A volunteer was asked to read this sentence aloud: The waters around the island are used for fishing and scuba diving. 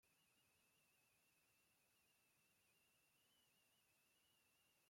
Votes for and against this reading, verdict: 0, 2, rejected